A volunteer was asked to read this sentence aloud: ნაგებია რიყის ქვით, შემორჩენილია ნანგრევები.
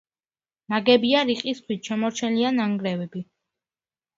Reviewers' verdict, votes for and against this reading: accepted, 2, 0